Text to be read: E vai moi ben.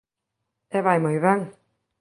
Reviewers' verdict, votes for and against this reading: accepted, 2, 0